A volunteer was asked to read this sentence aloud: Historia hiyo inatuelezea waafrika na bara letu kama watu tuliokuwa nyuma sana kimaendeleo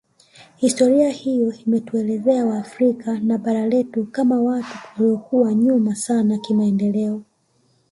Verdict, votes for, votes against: accepted, 2, 1